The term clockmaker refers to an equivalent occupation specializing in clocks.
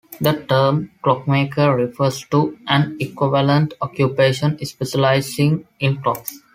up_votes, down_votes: 2, 0